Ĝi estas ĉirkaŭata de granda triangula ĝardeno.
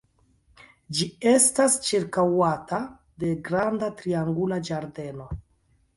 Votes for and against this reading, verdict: 1, 2, rejected